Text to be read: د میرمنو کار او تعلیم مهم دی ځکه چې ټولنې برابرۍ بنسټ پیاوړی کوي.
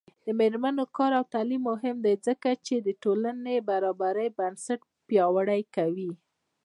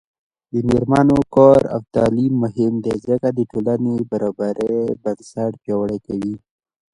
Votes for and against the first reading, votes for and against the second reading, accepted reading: 0, 2, 2, 1, second